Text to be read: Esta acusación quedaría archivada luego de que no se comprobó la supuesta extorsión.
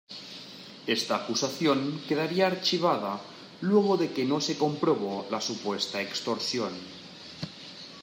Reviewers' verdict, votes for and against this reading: accepted, 2, 0